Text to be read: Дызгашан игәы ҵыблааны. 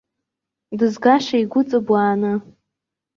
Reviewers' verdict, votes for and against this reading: rejected, 1, 2